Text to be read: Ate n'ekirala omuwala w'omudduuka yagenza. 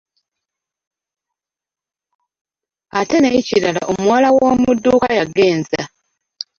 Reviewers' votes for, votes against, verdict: 1, 2, rejected